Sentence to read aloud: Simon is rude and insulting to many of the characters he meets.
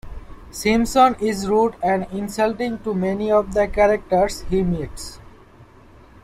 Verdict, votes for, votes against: accepted, 2, 1